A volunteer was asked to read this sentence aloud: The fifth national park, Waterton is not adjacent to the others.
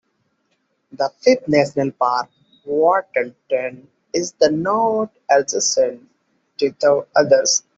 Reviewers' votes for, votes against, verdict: 1, 2, rejected